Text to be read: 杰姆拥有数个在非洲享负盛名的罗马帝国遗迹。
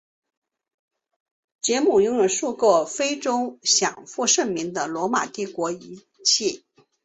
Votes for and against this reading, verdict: 1, 2, rejected